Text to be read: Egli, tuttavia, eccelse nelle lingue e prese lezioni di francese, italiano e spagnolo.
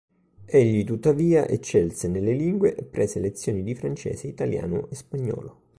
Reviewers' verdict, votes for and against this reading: accepted, 2, 0